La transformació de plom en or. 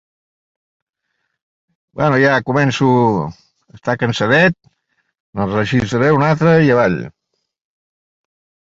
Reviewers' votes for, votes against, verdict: 0, 2, rejected